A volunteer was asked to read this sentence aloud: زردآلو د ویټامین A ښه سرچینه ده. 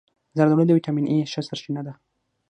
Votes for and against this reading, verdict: 3, 6, rejected